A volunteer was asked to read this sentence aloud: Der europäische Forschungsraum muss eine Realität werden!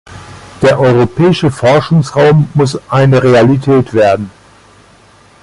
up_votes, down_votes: 2, 0